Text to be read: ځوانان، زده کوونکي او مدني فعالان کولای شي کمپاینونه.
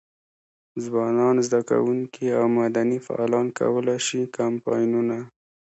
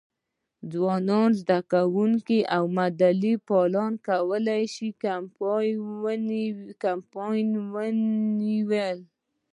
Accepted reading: first